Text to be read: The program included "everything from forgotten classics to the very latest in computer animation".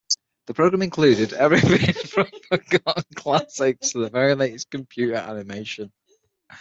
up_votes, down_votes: 3, 6